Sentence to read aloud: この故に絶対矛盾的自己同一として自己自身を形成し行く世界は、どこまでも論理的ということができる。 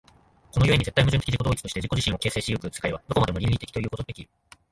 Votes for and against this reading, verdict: 0, 3, rejected